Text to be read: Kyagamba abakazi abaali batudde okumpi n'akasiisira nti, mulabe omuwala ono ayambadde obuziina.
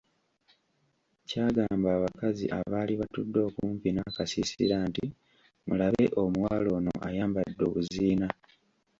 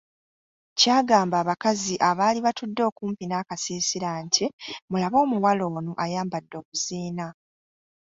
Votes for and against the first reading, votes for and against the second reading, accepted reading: 1, 2, 2, 0, second